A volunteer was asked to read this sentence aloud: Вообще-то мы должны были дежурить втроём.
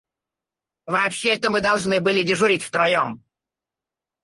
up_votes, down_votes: 2, 2